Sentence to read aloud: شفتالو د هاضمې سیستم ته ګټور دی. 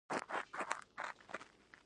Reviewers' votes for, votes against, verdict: 0, 2, rejected